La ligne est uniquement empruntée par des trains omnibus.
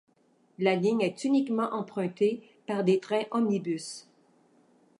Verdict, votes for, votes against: accepted, 2, 0